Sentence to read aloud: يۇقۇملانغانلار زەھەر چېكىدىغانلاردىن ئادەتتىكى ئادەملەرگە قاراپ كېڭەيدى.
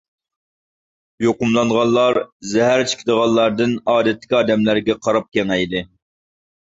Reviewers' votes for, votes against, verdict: 2, 0, accepted